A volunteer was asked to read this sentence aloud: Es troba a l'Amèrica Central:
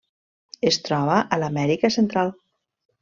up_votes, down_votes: 3, 0